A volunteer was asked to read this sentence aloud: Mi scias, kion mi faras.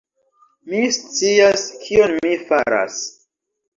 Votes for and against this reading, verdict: 1, 2, rejected